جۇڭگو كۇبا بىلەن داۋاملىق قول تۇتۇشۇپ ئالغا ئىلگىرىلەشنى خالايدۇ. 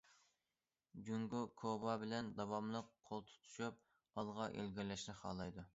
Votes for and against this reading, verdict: 2, 0, accepted